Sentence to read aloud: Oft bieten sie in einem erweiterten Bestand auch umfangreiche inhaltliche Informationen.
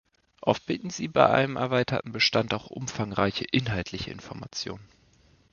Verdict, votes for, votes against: rejected, 0, 2